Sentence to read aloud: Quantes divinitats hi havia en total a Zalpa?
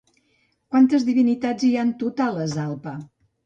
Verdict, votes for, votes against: rejected, 0, 2